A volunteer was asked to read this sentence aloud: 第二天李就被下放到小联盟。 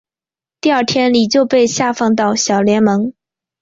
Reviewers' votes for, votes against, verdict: 0, 2, rejected